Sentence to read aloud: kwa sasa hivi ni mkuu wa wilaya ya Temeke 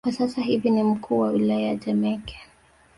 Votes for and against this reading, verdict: 2, 0, accepted